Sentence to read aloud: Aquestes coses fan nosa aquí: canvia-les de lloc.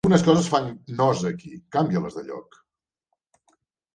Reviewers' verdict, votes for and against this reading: rejected, 0, 3